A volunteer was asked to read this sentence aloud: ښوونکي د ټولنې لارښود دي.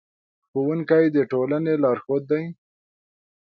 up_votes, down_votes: 2, 0